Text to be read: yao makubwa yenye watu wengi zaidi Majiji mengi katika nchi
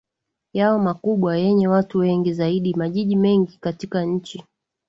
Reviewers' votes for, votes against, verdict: 2, 1, accepted